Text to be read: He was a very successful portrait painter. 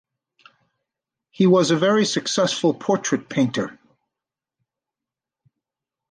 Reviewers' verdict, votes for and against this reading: accepted, 2, 0